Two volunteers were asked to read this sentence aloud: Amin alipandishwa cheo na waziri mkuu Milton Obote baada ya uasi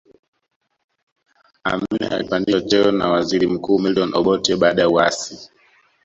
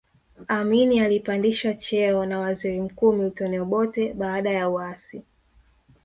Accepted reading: second